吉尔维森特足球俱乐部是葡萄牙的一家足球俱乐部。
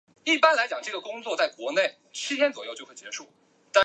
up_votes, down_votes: 2, 3